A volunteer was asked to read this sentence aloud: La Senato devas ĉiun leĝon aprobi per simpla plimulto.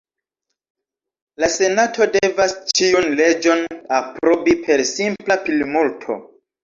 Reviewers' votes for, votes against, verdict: 0, 2, rejected